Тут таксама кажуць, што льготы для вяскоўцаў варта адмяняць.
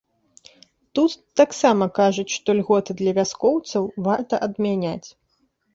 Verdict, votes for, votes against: accepted, 2, 0